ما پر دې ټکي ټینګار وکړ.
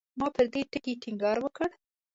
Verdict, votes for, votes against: accepted, 2, 0